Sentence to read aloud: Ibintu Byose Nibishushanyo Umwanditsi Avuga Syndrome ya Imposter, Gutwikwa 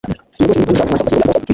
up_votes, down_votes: 0, 2